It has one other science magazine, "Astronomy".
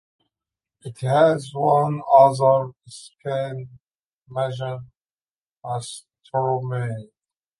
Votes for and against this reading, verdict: 0, 2, rejected